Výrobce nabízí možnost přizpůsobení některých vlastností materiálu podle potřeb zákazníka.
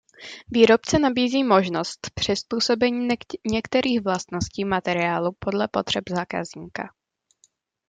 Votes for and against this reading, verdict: 0, 2, rejected